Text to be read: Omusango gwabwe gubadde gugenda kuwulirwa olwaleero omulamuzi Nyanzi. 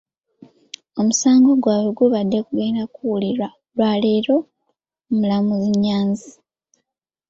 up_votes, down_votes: 3, 1